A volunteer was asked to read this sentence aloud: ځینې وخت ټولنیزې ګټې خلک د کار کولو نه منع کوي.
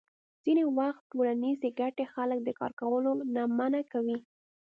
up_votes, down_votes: 2, 0